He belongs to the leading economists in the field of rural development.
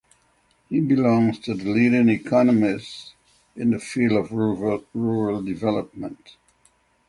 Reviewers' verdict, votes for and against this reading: rejected, 0, 6